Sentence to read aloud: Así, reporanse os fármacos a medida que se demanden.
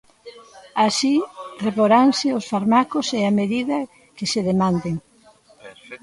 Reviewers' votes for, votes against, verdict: 1, 2, rejected